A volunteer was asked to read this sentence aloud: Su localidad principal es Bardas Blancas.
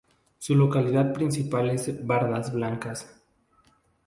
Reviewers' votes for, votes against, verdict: 2, 0, accepted